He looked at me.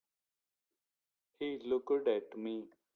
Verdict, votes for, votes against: rejected, 0, 2